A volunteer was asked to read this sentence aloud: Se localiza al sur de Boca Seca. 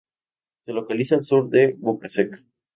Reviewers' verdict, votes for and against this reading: rejected, 2, 2